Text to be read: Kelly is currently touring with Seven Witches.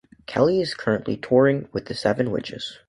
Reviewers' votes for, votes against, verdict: 0, 2, rejected